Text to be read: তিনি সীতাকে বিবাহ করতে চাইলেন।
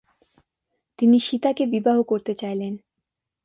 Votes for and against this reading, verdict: 2, 1, accepted